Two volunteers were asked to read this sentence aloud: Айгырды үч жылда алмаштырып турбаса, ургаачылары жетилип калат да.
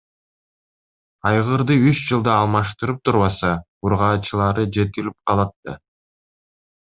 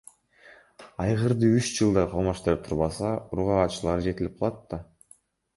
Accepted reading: first